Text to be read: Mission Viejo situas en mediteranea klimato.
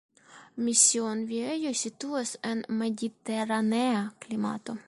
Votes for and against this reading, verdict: 0, 2, rejected